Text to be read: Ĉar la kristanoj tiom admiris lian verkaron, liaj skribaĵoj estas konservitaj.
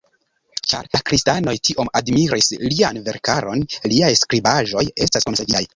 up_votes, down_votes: 0, 3